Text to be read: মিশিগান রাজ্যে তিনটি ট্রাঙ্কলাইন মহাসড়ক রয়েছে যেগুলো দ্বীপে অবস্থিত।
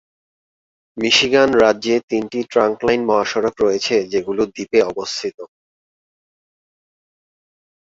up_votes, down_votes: 2, 0